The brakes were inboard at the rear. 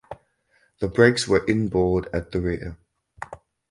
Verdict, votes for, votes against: accepted, 4, 0